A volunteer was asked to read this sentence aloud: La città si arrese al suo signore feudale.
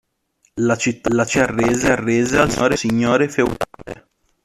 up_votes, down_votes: 0, 2